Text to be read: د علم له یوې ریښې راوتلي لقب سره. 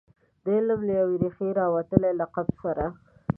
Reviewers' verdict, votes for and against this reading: accepted, 2, 0